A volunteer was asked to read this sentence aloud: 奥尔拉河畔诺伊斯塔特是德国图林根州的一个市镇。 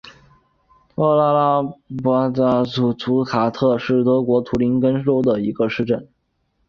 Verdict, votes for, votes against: rejected, 0, 2